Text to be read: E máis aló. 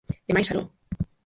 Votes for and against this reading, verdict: 0, 4, rejected